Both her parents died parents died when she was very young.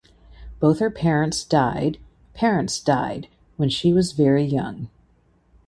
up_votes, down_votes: 2, 0